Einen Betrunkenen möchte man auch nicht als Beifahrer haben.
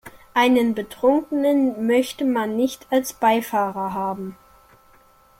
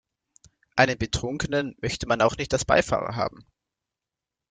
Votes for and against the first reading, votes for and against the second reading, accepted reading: 0, 2, 2, 0, second